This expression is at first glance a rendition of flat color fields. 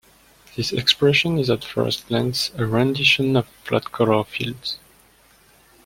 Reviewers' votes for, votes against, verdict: 2, 0, accepted